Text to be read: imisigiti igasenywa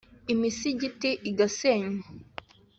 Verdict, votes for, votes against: accepted, 2, 0